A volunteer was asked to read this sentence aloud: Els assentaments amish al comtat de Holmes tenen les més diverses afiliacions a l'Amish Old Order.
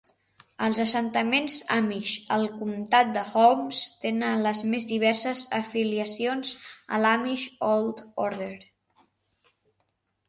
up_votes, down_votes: 2, 0